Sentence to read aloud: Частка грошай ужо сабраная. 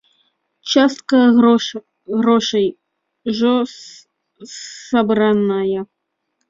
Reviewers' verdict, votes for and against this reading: rejected, 0, 2